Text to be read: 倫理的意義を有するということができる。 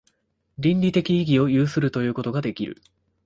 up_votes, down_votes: 2, 0